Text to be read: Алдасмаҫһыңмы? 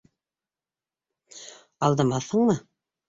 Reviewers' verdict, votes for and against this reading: rejected, 0, 2